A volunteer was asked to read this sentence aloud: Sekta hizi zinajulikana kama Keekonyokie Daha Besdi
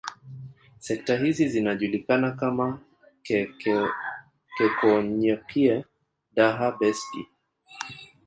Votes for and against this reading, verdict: 2, 3, rejected